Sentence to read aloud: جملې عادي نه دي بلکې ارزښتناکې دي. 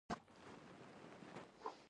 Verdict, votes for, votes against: rejected, 1, 2